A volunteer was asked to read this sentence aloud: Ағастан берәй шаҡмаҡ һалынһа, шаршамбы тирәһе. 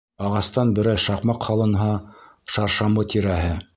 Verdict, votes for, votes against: accepted, 2, 0